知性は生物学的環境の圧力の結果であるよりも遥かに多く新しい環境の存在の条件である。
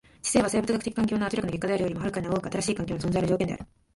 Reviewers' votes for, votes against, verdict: 3, 1, accepted